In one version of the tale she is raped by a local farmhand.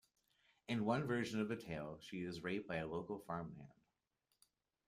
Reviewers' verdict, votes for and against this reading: accepted, 2, 0